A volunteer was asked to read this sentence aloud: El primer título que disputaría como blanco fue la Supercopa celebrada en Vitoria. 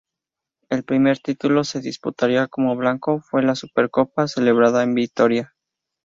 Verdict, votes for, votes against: rejected, 2, 2